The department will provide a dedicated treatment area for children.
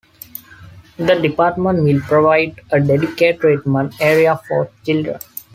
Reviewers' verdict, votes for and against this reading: rejected, 0, 2